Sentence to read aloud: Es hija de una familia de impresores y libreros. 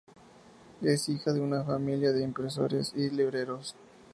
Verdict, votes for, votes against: accepted, 2, 0